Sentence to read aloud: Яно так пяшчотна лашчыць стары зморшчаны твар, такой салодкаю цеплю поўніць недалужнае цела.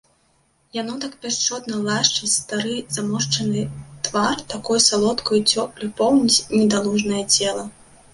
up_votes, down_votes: 1, 2